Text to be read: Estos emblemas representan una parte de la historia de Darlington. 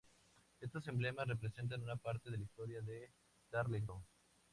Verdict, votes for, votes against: rejected, 0, 2